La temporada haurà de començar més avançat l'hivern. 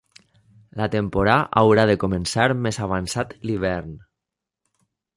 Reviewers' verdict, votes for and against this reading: rejected, 0, 2